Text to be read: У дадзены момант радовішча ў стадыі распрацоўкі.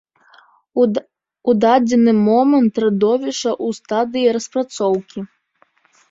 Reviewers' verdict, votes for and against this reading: rejected, 0, 2